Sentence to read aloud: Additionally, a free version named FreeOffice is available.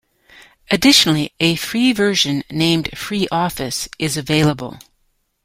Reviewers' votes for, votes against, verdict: 2, 0, accepted